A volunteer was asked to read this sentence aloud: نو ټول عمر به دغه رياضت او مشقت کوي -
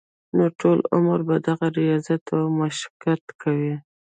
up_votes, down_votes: 1, 2